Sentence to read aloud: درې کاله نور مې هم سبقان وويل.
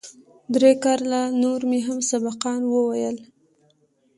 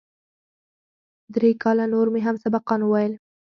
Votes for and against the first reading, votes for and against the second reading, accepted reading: 2, 0, 2, 4, first